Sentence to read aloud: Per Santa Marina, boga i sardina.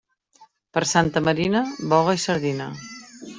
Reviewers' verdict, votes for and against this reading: accepted, 3, 0